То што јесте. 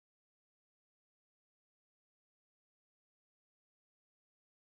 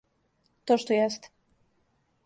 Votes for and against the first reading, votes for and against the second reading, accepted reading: 0, 2, 2, 0, second